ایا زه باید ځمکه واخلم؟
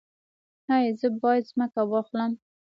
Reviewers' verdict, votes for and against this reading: rejected, 1, 2